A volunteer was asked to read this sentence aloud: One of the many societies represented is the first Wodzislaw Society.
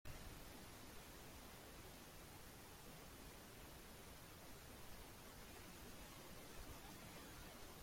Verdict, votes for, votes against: rejected, 0, 2